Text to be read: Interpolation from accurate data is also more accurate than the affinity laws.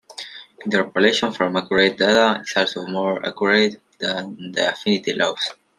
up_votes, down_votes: 2, 0